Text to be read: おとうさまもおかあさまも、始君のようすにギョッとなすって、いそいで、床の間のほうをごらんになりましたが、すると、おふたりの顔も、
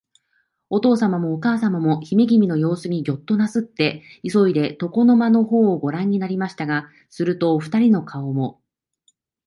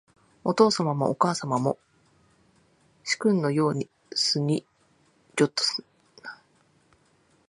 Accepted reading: first